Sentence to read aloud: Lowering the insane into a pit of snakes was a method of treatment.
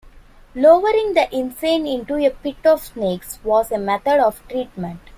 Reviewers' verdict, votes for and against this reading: accepted, 2, 0